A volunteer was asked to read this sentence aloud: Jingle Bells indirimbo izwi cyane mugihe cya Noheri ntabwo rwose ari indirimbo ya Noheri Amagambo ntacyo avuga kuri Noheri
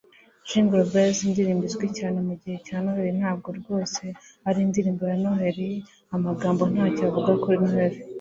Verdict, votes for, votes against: accepted, 2, 0